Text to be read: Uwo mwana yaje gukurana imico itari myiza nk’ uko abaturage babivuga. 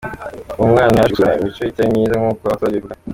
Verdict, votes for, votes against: rejected, 0, 2